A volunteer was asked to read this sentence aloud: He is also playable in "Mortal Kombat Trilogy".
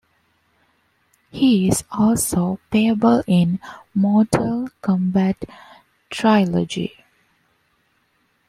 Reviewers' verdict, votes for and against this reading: accepted, 2, 0